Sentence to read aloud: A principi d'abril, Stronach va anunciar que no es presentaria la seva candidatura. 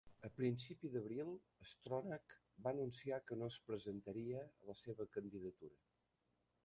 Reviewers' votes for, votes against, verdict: 0, 2, rejected